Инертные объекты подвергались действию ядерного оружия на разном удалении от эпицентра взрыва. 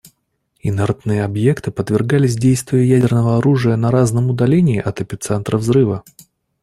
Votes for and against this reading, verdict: 2, 0, accepted